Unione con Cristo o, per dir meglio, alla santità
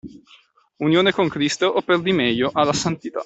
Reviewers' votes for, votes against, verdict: 2, 0, accepted